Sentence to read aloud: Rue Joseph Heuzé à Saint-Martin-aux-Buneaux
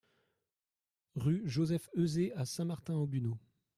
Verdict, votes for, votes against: rejected, 1, 2